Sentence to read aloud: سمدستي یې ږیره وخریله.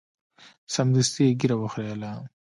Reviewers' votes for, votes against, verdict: 0, 2, rejected